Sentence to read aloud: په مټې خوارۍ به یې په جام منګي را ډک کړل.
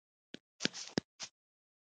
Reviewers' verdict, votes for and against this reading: rejected, 1, 2